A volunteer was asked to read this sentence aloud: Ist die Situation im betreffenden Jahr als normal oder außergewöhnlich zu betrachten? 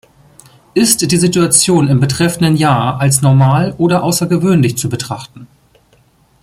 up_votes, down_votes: 2, 0